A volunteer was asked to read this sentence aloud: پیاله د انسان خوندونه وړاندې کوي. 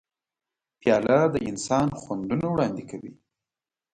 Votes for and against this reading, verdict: 2, 0, accepted